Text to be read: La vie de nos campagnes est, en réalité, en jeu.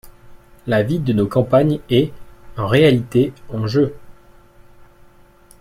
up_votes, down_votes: 2, 0